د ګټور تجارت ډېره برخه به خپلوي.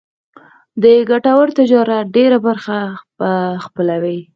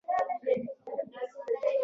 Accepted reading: first